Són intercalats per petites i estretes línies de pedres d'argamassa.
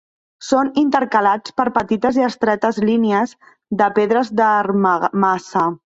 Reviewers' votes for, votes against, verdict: 1, 2, rejected